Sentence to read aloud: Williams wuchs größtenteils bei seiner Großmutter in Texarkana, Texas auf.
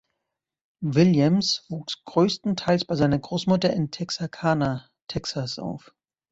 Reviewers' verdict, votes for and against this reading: accepted, 2, 0